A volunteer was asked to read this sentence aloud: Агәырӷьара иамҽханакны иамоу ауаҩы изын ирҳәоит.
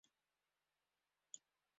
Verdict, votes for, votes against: rejected, 0, 3